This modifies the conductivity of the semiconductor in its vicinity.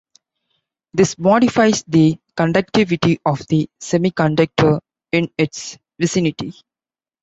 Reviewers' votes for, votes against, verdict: 2, 0, accepted